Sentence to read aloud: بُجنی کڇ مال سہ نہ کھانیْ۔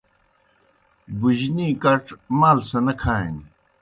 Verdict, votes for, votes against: accepted, 2, 0